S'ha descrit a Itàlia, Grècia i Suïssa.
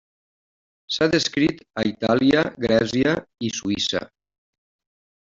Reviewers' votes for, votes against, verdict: 3, 1, accepted